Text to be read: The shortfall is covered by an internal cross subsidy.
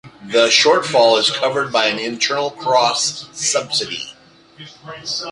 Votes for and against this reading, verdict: 2, 0, accepted